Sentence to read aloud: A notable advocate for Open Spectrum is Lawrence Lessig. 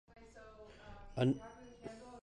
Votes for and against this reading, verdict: 0, 2, rejected